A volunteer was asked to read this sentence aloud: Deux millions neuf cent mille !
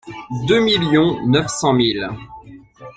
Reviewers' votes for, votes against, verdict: 2, 1, accepted